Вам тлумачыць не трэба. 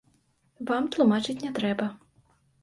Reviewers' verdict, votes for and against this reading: accepted, 2, 0